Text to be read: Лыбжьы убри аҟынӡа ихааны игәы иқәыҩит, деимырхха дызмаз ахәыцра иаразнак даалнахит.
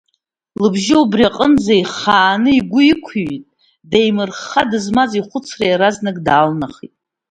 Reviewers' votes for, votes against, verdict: 2, 0, accepted